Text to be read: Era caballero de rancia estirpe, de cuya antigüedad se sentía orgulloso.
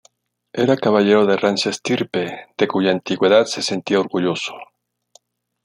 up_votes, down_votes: 2, 0